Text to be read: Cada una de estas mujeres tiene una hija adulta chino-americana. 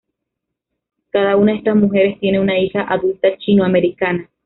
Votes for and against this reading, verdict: 2, 0, accepted